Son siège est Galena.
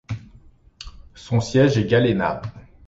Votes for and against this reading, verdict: 2, 0, accepted